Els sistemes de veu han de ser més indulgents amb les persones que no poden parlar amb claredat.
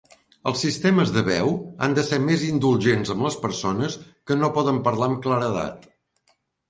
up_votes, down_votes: 2, 0